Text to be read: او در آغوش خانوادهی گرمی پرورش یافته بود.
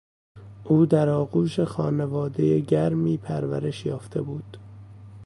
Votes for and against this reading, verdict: 1, 2, rejected